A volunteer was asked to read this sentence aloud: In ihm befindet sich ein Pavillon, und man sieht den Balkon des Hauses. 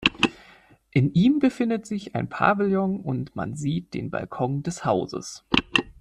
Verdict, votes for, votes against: accepted, 2, 0